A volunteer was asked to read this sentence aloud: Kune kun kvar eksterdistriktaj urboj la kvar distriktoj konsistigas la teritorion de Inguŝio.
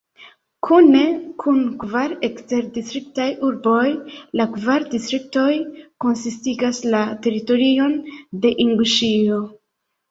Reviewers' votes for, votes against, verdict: 2, 0, accepted